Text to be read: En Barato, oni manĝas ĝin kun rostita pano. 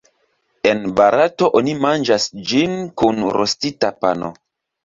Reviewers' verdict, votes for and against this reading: accepted, 3, 1